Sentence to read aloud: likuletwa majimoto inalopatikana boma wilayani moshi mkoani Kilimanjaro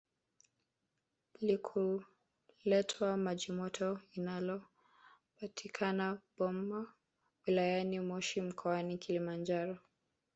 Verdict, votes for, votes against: rejected, 1, 2